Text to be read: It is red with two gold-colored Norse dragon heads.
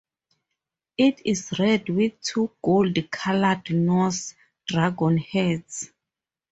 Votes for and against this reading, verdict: 4, 0, accepted